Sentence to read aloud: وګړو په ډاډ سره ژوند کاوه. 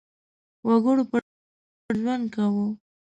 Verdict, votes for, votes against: rejected, 0, 2